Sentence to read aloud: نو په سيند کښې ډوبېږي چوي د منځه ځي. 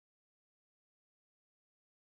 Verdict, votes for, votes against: rejected, 1, 2